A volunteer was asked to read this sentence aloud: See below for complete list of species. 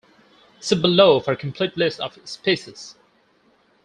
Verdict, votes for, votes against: accepted, 4, 0